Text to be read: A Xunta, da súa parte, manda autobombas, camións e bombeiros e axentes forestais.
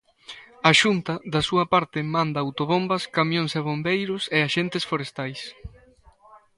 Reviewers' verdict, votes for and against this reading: accepted, 2, 0